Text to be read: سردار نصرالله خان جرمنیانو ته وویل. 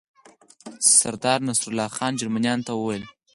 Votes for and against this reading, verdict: 4, 2, accepted